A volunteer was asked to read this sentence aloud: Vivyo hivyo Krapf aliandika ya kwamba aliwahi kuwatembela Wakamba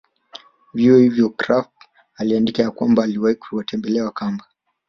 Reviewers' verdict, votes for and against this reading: rejected, 1, 2